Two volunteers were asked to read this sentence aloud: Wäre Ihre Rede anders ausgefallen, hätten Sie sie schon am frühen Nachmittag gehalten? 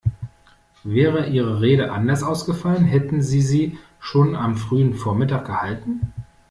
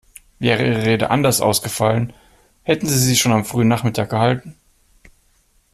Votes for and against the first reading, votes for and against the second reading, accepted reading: 0, 2, 2, 0, second